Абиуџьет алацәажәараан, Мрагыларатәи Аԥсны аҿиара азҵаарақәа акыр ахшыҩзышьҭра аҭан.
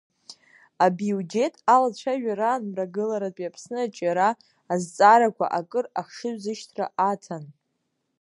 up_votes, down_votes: 1, 2